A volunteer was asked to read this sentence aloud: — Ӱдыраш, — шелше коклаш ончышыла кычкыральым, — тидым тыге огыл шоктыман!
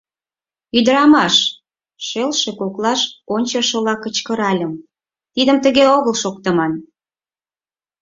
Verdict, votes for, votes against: rejected, 4, 6